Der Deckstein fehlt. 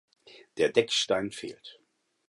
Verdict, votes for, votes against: accepted, 4, 0